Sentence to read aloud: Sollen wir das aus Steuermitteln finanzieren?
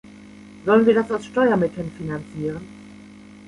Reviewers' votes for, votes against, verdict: 3, 0, accepted